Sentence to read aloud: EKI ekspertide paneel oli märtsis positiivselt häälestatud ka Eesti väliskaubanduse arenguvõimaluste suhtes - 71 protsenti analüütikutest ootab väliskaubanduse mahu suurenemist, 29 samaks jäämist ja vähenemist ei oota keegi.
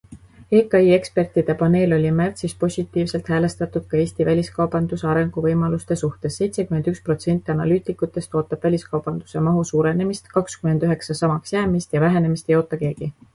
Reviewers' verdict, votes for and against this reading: rejected, 0, 2